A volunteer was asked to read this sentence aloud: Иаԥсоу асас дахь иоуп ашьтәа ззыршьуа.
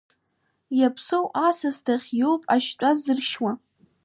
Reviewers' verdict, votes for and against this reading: accepted, 2, 0